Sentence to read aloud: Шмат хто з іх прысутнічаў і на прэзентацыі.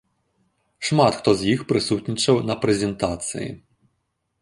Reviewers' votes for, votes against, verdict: 0, 2, rejected